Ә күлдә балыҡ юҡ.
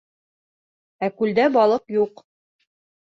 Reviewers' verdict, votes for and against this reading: accepted, 2, 0